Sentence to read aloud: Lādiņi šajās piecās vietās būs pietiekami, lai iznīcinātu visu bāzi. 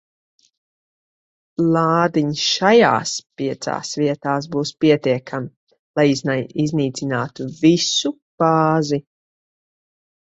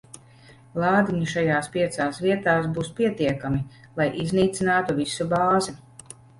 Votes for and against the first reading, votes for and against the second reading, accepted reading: 1, 3, 2, 0, second